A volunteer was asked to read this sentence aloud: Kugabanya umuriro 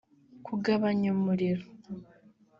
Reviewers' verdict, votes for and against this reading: accepted, 2, 0